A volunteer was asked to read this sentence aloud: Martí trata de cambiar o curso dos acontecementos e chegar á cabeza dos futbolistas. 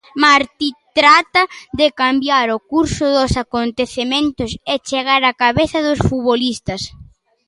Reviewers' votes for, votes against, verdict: 1, 2, rejected